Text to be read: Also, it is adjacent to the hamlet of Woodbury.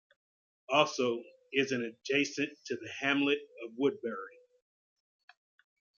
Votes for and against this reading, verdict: 0, 2, rejected